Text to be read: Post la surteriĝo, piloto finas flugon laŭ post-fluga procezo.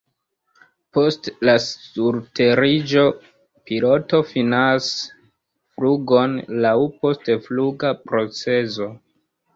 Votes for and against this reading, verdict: 1, 2, rejected